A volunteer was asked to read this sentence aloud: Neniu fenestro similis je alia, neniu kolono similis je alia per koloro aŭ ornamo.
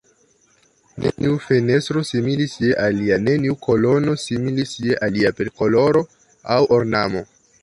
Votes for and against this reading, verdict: 0, 2, rejected